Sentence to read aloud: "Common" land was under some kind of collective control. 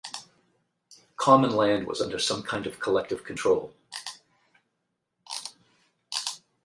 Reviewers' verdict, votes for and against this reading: rejected, 4, 4